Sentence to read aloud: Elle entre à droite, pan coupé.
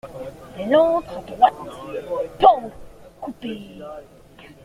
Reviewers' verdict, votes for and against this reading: accepted, 2, 1